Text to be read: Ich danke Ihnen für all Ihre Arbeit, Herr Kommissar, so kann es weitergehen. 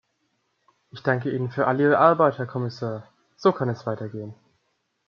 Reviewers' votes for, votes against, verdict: 2, 0, accepted